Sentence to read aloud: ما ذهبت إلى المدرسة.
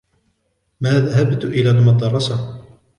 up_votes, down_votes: 2, 1